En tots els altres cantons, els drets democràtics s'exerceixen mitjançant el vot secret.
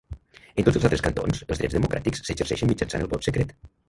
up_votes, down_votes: 1, 2